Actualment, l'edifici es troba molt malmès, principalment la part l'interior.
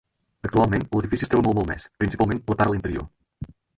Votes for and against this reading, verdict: 0, 4, rejected